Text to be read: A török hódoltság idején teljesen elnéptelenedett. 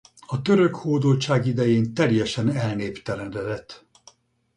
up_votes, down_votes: 2, 2